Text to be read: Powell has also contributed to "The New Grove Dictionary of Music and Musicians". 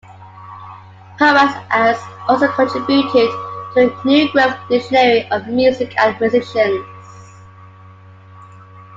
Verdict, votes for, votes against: accepted, 2, 1